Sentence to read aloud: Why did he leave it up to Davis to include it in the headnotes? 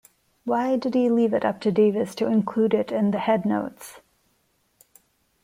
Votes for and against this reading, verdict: 2, 0, accepted